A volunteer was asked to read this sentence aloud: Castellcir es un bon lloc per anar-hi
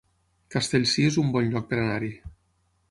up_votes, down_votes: 9, 0